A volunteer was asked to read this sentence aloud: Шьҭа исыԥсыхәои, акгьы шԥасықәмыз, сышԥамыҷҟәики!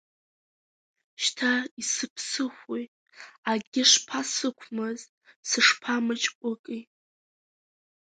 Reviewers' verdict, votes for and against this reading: rejected, 0, 2